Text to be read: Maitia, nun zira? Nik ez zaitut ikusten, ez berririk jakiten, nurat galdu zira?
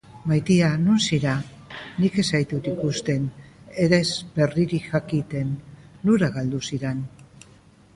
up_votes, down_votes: 1, 2